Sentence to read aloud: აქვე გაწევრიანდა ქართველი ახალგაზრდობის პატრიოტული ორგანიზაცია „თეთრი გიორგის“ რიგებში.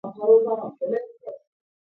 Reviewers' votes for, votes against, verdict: 0, 2, rejected